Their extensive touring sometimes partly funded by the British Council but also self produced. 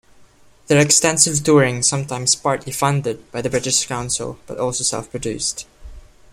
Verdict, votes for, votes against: accepted, 2, 0